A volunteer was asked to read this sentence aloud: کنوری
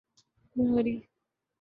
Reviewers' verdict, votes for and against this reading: accepted, 2, 0